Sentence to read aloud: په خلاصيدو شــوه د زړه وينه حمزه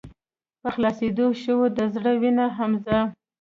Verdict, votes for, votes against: rejected, 1, 2